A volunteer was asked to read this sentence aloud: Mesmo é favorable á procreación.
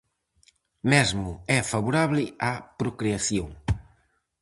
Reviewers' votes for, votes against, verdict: 4, 0, accepted